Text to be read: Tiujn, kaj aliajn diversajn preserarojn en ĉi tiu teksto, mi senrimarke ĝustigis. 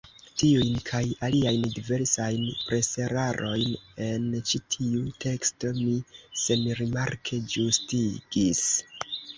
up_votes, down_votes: 1, 2